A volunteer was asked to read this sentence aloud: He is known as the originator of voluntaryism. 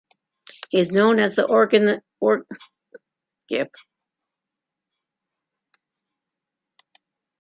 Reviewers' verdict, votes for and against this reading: rejected, 0, 2